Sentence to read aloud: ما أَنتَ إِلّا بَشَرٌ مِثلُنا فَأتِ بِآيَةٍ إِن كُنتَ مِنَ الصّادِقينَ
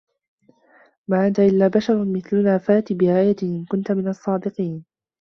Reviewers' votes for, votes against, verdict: 2, 0, accepted